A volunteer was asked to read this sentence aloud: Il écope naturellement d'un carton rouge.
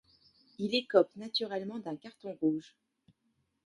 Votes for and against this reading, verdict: 1, 2, rejected